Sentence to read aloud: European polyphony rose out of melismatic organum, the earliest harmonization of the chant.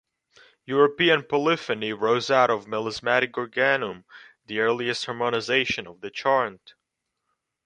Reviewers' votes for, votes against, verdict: 1, 2, rejected